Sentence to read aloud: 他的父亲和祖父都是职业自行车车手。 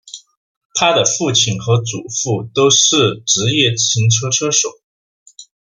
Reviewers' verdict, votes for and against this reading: accepted, 2, 0